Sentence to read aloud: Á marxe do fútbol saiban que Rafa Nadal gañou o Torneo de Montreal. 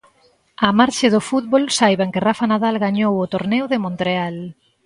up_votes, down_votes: 2, 0